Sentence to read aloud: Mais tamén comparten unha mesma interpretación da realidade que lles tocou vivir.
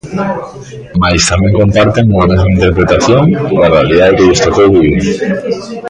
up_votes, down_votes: 0, 2